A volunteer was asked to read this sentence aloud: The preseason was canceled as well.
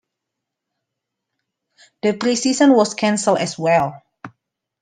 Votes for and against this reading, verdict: 2, 1, accepted